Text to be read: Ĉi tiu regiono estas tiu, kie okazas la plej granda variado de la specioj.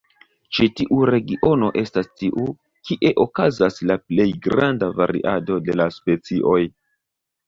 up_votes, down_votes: 1, 2